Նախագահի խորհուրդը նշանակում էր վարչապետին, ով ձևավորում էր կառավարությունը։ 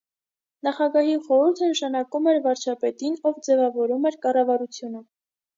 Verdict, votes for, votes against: accepted, 2, 0